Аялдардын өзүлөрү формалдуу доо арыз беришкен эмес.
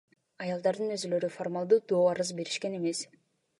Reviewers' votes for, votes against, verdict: 2, 1, accepted